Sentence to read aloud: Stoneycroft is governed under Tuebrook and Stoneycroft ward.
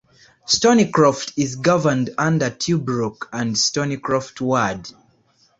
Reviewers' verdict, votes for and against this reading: accepted, 2, 0